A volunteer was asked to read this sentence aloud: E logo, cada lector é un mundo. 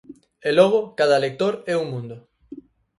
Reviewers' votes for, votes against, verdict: 4, 0, accepted